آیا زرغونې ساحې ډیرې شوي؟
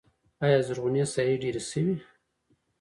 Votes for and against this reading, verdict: 1, 2, rejected